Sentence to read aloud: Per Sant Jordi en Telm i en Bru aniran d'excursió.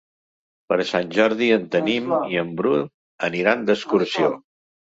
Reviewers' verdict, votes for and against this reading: rejected, 1, 3